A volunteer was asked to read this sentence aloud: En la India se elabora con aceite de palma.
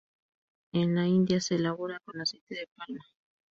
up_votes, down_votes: 2, 0